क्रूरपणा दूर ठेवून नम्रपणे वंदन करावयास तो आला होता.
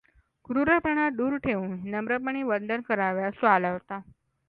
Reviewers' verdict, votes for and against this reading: accepted, 2, 0